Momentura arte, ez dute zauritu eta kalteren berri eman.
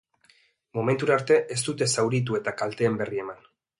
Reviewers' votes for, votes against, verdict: 1, 3, rejected